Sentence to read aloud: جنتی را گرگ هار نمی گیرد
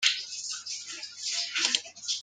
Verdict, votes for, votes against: rejected, 0, 2